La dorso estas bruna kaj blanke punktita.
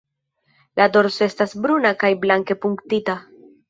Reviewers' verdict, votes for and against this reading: accepted, 4, 0